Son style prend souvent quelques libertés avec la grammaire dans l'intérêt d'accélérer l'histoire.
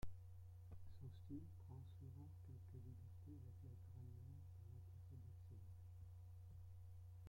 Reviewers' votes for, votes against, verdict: 0, 2, rejected